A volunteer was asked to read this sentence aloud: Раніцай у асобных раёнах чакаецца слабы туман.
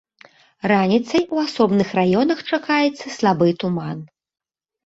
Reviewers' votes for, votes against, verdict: 2, 1, accepted